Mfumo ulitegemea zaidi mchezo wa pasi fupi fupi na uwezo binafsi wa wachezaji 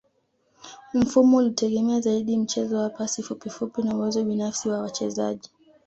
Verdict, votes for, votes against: accepted, 2, 0